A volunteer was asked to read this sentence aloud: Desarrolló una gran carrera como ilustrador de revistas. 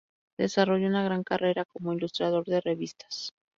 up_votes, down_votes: 2, 0